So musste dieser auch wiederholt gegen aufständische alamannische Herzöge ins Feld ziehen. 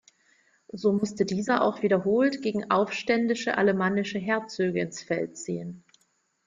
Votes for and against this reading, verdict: 0, 2, rejected